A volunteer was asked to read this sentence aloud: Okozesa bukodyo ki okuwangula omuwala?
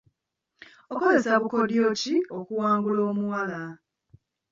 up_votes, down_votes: 0, 2